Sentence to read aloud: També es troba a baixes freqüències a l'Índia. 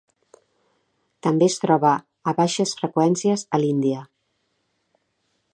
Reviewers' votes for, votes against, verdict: 2, 0, accepted